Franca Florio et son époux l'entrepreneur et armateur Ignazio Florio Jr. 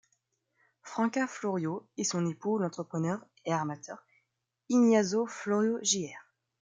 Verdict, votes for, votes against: accepted, 2, 1